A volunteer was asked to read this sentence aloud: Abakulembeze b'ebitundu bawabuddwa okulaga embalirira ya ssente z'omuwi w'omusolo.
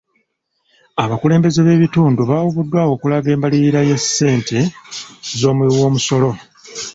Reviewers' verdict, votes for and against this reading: rejected, 0, 2